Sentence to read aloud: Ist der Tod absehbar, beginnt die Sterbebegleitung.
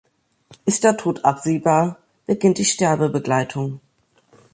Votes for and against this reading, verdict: 2, 0, accepted